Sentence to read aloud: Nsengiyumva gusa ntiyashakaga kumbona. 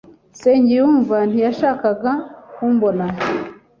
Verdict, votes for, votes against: rejected, 1, 2